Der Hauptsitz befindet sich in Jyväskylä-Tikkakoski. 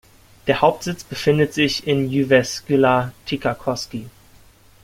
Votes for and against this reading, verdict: 0, 2, rejected